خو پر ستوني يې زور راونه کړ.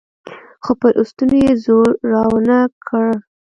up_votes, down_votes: 0, 2